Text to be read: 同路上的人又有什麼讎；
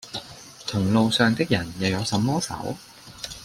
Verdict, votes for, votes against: rejected, 0, 2